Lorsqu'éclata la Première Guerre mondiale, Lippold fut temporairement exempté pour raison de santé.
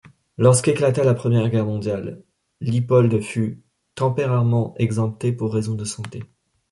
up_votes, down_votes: 0, 2